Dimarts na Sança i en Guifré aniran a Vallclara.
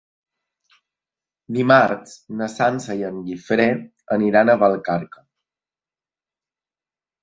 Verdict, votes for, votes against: rejected, 0, 2